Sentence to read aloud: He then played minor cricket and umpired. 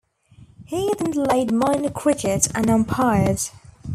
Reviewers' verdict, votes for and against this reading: rejected, 1, 2